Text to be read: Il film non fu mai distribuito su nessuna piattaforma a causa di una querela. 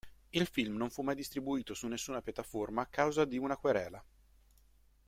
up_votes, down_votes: 2, 0